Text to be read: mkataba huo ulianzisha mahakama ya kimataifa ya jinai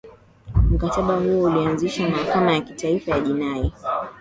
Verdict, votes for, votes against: accepted, 2, 1